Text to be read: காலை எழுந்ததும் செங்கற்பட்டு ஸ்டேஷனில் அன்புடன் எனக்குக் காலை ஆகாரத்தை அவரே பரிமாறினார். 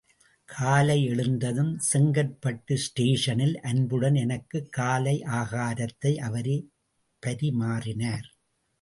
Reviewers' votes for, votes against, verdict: 0, 2, rejected